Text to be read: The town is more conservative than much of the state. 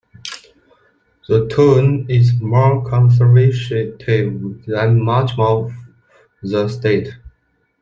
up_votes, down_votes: 0, 2